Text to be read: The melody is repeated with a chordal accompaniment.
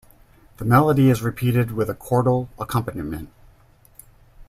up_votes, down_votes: 2, 0